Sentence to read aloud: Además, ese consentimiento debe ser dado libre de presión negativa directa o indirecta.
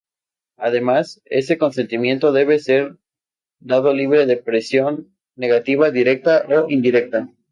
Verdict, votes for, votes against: rejected, 0, 2